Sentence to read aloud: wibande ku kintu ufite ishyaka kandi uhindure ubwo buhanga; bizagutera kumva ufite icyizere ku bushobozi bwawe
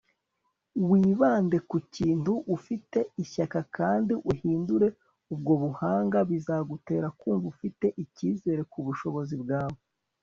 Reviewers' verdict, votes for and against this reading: accepted, 2, 0